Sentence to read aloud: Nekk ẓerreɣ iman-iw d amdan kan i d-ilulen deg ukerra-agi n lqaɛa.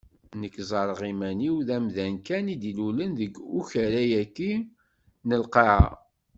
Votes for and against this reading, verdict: 2, 0, accepted